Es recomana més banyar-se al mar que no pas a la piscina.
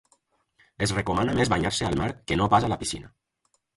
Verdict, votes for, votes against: accepted, 4, 0